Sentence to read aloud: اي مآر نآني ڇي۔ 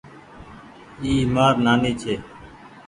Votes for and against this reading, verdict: 2, 0, accepted